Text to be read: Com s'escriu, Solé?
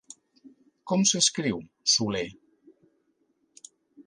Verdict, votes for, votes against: accepted, 2, 0